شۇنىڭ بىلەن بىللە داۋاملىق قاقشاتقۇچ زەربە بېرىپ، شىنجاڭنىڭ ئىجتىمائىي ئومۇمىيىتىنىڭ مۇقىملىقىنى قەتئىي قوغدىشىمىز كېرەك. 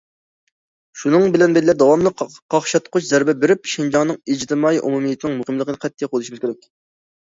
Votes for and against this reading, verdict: 0, 2, rejected